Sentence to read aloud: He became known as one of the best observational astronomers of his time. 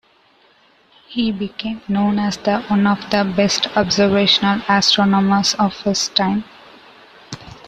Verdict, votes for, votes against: rejected, 0, 2